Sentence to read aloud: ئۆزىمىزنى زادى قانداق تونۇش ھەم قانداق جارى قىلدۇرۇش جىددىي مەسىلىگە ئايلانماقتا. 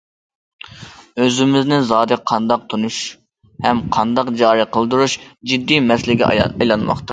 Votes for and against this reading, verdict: 0, 2, rejected